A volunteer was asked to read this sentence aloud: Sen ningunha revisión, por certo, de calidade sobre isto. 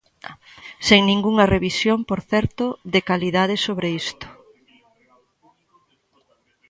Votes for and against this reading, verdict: 1, 2, rejected